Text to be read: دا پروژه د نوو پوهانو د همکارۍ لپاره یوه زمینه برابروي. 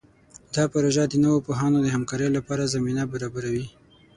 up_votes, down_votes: 0, 6